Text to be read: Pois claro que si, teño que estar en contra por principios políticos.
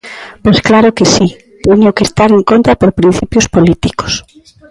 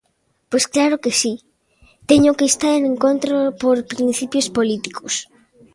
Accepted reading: first